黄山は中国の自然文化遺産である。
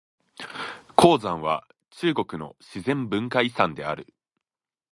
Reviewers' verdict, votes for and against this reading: accepted, 2, 0